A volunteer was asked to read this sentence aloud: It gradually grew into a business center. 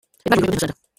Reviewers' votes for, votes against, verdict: 1, 2, rejected